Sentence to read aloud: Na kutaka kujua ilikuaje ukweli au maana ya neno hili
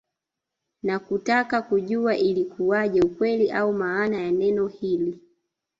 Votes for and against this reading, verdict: 0, 2, rejected